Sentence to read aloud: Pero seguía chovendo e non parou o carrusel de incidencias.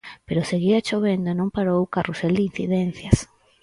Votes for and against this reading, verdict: 4, 0, accepted